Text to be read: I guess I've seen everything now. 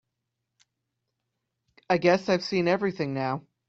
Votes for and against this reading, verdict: 2, 0, accepted